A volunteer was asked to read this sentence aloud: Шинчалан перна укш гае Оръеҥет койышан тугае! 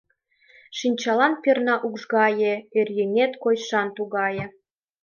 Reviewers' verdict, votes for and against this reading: rejected, 1, 2